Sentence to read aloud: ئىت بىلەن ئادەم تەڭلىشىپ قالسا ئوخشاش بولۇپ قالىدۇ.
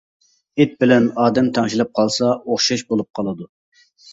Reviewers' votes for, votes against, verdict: 0, 2, rejected